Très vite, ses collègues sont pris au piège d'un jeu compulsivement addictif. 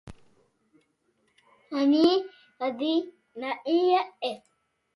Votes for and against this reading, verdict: 0, 2, rejected